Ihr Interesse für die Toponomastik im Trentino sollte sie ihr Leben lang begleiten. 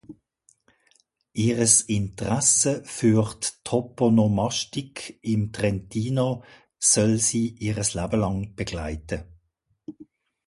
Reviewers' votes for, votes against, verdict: 0, 2, rejected